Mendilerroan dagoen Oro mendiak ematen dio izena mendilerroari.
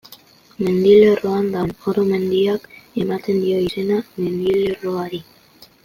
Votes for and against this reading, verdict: 0, 2, rejected